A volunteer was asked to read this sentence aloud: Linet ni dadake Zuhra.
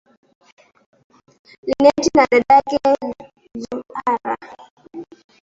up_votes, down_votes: 0, 2